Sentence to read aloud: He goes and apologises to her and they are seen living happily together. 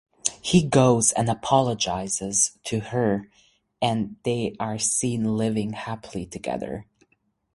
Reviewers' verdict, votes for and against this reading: accepted, 6, 0